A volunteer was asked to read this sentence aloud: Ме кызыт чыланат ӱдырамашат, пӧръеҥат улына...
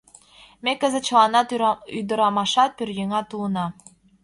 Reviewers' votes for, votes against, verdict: 1, 2, rejected